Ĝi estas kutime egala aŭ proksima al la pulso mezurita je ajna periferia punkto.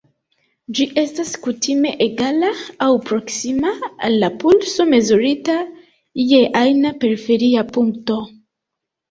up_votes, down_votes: 2, 0